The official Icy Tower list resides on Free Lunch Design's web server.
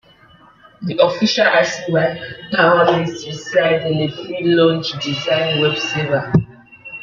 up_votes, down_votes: 0, 2